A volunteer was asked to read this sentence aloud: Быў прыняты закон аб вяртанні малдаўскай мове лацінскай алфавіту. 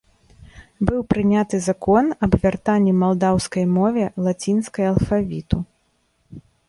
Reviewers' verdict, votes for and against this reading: accepted, 2, 0